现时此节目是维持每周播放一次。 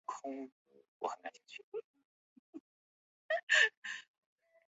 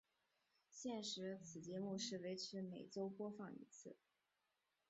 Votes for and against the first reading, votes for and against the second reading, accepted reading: 1, 2, 2, 1, second